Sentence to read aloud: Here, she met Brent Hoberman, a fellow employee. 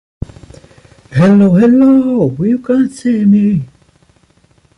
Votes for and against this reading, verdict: 0, 3, rejected